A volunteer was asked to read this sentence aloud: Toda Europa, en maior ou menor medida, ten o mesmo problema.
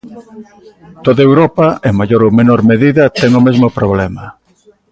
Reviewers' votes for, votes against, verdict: 1, 2, rejected